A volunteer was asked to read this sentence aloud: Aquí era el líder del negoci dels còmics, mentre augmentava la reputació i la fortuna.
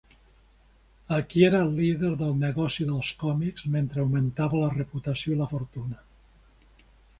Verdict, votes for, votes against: accepted, 3, 0